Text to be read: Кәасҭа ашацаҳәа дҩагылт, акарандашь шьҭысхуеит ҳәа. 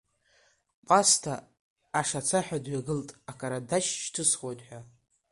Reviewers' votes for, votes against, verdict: 3, 2, accepted